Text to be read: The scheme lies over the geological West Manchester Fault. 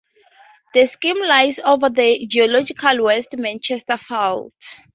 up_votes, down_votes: 0, 2